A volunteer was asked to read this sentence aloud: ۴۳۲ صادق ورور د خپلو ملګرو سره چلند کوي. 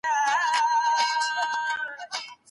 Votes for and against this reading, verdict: 0, 2, rejected